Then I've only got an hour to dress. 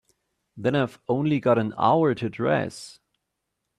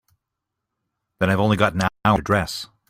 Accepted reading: first